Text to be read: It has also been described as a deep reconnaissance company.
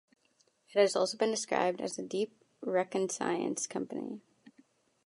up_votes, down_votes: 0, 2